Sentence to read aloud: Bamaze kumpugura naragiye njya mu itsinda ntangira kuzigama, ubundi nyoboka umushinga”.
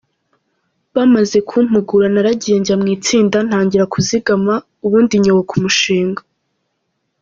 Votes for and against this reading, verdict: 2, 0, accepted